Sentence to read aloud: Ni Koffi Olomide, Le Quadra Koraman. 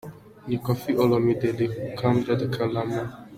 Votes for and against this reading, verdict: 2, 1, accepted